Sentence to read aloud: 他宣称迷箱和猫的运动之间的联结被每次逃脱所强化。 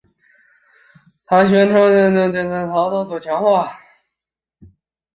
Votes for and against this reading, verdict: 0, 2, rejected